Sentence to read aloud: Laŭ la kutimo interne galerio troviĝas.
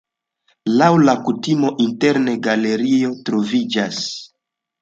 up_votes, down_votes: 2, 0